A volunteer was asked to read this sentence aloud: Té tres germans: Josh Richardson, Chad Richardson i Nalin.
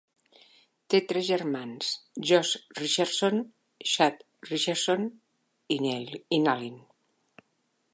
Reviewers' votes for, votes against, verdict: 0, 2, rejected